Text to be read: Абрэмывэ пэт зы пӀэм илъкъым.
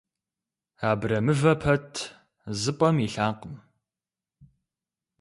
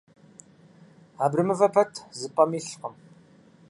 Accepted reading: second